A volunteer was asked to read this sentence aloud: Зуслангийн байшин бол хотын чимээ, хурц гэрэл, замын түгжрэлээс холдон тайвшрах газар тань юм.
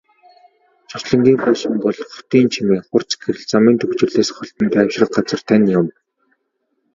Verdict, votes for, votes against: accepted, 5, 0